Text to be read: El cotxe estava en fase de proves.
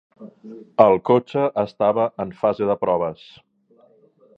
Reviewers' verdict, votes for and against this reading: accepted, 3, 0